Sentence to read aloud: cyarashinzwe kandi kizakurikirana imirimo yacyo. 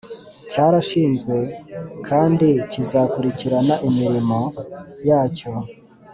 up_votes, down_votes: 2, 0